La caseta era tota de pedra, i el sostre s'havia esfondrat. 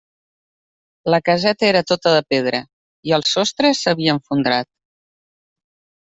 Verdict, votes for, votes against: rejected, 0, 2